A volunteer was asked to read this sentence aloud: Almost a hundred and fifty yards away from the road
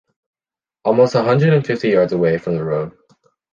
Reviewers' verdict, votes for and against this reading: accepted, 2, 0